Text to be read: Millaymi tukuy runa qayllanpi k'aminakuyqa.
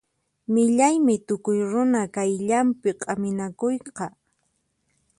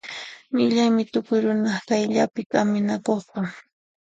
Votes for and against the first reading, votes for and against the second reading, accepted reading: 4, 0, 1, 2, first